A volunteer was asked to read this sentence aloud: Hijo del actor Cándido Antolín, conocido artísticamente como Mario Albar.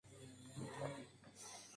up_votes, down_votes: 0, 2